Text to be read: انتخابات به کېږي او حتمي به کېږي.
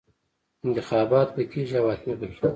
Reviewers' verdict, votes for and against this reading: rejected, 1, 2